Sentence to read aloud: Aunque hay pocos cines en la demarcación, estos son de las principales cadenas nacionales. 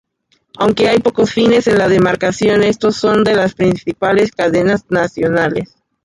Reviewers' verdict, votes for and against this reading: rejected, 0, 2